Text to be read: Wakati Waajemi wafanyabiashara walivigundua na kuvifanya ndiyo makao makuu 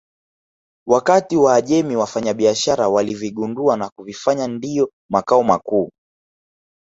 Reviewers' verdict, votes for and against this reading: accepted, 2, 0